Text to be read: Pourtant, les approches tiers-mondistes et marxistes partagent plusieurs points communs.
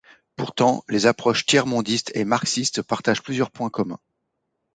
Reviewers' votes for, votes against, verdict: 2, 0, accepted